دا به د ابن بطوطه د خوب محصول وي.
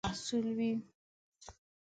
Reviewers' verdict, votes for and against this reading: rejected, 0, 2